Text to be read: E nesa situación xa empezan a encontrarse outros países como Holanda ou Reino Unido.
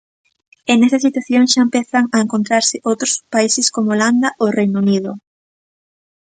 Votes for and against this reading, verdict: 2, 0, accepted